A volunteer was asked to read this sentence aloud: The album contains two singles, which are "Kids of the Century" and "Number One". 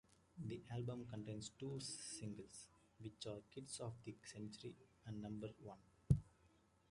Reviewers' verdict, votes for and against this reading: accepted, 2, 1